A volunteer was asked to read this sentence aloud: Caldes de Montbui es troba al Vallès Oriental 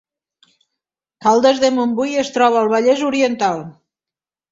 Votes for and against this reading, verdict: 3, 0, accepted